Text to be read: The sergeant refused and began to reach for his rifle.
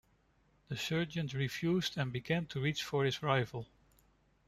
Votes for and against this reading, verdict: 0, 2, rejected